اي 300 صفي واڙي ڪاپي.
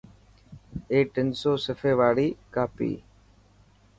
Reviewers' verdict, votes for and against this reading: rejected, 0, 2